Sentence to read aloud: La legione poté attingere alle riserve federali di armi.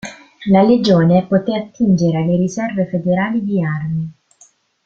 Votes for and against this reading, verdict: 0, 2, rejected